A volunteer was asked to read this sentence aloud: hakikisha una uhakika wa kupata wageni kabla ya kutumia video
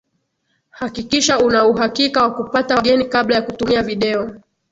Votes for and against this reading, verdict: 2, 0, accepted